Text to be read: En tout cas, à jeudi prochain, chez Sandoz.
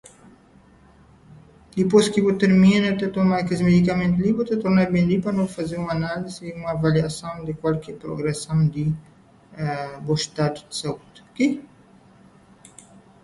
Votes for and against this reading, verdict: 0, 2, rejected